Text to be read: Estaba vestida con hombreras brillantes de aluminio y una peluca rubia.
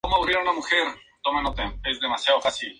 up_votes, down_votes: 0, 2